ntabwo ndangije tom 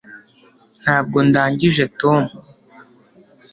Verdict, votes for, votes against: accepted, 2, 0